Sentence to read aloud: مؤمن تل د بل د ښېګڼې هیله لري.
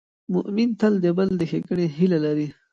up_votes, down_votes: 2, 0